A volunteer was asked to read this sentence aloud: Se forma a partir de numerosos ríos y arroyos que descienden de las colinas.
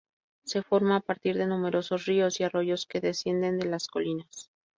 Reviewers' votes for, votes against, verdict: 2, 0, accepted